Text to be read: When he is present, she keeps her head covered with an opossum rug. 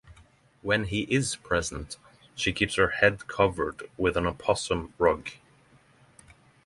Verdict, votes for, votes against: rejected, 3, 3